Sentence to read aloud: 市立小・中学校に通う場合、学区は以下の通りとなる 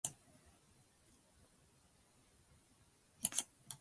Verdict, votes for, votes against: rejected, 1, 2